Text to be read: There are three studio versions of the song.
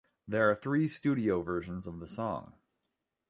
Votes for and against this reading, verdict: 2, 1, accepted